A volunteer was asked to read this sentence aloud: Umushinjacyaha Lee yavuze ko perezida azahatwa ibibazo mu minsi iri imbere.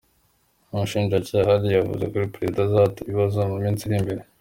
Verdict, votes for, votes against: accepted, 2, 0